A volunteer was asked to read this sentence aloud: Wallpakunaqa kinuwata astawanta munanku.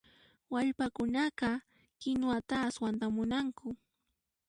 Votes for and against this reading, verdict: 0, 2, rejected